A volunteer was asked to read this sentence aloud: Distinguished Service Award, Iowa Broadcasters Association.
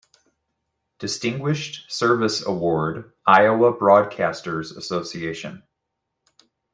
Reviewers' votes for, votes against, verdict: 2, 0, accepted